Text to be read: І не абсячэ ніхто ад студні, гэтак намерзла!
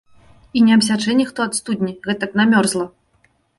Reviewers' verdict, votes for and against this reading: accepted, 2, 0